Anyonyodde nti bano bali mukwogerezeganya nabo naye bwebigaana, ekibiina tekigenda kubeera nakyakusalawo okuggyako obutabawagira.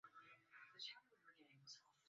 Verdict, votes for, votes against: rejected, 0, 2